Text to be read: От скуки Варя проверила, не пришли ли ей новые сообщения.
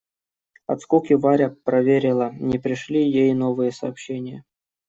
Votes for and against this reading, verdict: 1, 2, rejected